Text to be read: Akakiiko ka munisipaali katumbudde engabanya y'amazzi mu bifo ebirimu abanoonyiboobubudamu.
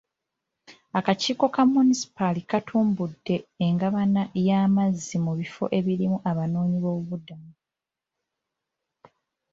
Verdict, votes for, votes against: rejected, 0, 2